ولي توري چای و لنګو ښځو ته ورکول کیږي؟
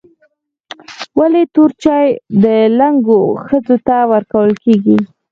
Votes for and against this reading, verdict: 0, 4, rejected